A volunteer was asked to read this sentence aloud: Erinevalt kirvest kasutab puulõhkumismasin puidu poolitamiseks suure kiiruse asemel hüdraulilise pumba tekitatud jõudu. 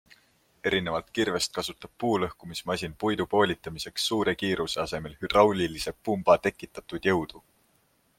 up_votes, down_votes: 2, 0